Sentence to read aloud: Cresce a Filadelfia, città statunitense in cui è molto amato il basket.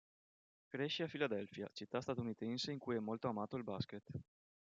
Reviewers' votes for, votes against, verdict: 2, 0, accepted